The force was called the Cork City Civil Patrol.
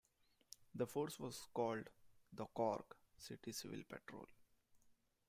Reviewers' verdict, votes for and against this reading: accepted, 2, 0